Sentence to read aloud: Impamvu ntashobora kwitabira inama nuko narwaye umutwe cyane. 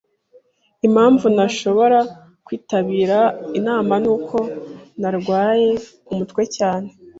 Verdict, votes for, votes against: accepted, 2, 0